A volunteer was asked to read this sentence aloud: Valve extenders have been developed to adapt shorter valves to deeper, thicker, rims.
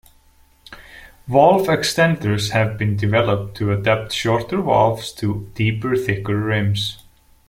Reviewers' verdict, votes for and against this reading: accepted, 2, 0